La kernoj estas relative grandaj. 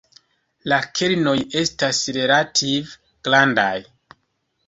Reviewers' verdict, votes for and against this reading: rejected, 1, 2